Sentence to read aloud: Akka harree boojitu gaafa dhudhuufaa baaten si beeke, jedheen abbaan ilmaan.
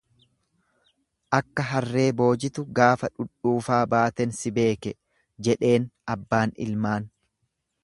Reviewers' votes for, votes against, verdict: 4, 0, accepted